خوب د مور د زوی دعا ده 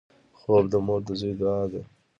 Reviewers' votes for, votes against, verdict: 1, 2, rejected